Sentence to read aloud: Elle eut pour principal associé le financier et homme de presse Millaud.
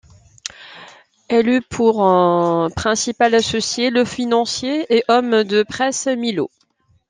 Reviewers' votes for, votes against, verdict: 2, 0, accepted